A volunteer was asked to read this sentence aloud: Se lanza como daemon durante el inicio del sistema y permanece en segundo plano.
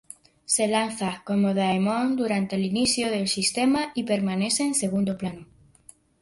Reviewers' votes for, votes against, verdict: 2, 0, accepted